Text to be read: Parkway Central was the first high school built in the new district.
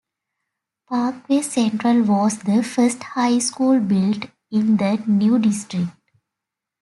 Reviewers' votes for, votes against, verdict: 2, 0, accepted